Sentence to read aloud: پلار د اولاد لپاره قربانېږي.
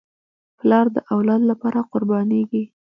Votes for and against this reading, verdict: 1, 2, rejected